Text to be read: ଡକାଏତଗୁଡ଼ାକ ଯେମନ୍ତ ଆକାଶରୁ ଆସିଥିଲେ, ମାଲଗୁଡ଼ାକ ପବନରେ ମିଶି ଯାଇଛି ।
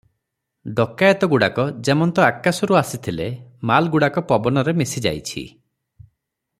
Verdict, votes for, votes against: rejected, 0, 3